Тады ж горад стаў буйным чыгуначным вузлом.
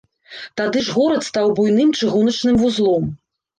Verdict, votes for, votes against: rejected, 0, 2